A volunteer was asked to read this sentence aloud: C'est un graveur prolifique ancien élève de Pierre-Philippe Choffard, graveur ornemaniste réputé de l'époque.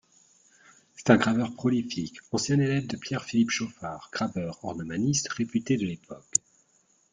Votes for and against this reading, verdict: 2, 0, accepted